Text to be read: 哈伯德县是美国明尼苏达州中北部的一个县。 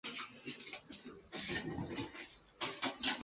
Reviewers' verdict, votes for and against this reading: rejected, 0, 3